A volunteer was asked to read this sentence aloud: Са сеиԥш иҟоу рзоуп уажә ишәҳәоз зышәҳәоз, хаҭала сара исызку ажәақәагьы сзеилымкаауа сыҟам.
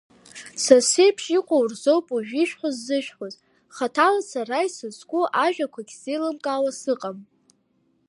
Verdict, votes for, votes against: rejected, 0, 2